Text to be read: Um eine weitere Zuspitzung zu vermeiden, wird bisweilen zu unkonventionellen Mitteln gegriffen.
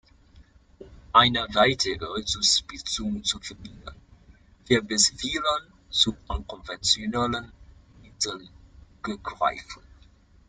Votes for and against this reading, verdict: 0, 2, rejected